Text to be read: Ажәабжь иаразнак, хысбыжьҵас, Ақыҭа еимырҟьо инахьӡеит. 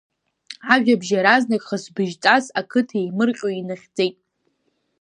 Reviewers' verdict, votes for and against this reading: accepted, 2, 0